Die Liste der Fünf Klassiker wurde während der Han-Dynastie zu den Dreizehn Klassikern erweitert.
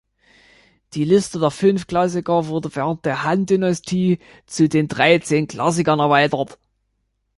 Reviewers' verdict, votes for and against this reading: accepted, 2, 0